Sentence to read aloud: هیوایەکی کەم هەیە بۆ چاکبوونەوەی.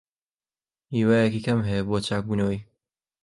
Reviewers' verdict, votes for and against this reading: accepted, 2, 0